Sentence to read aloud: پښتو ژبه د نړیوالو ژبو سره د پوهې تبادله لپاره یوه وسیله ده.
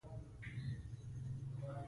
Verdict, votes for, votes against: rejected, 0, 3